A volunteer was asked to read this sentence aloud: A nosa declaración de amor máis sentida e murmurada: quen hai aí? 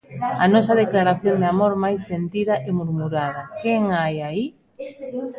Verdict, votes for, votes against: rejected, 1, 2